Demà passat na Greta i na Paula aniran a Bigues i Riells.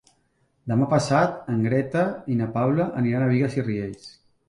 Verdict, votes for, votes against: rejected, 2, 3